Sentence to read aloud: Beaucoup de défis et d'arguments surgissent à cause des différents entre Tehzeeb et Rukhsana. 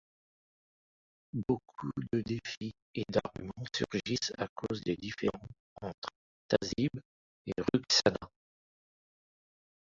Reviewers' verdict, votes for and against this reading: rejected, 0, 2